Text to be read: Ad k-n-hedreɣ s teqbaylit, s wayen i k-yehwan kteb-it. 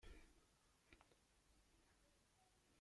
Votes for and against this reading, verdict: 0, 2, rejected